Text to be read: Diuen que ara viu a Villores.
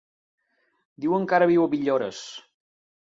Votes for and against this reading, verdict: 2, 0, accepted